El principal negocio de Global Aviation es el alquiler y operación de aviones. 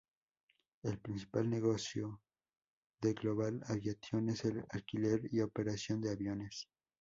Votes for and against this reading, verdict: 2, 0, accepted